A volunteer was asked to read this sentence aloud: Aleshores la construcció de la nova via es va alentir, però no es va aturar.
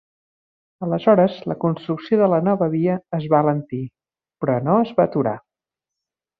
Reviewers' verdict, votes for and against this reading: accepted, 3, 0